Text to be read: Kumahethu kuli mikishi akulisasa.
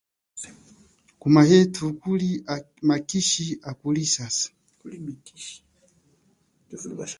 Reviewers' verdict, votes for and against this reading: rejected, 0, 4